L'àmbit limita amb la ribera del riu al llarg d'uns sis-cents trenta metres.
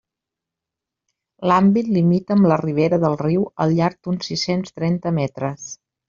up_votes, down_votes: 3, 0